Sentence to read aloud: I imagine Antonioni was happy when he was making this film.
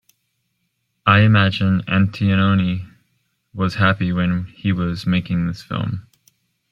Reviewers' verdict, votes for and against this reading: rejected, 0, 2